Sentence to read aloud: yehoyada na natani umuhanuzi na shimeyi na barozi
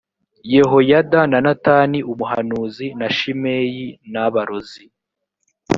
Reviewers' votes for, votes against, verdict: 3, 0, accepted